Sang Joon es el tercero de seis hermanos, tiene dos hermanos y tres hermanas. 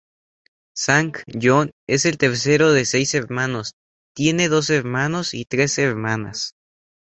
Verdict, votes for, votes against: accepted, 4, 2